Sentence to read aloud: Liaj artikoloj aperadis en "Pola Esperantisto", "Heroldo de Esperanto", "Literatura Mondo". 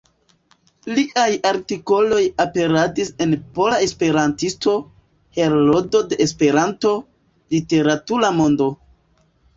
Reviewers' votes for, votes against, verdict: 1, 2, rejected